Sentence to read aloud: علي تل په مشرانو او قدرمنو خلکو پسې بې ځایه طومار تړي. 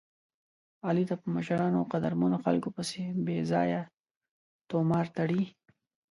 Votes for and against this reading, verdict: 2, 0, accepted